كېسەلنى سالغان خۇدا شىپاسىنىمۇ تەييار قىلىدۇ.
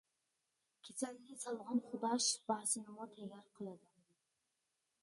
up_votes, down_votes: 2, 1